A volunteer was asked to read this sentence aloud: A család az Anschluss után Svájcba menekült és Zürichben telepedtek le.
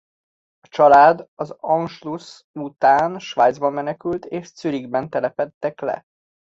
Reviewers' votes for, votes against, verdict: 2, 0, accepted